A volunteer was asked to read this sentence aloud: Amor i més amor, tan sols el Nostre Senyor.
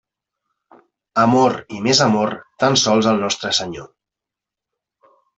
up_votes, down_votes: 1, 2